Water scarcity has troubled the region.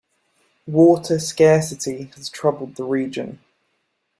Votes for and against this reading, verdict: 2, 0, accepted